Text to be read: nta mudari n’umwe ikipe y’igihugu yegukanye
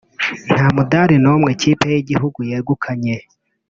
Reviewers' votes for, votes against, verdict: 1, 2, rejected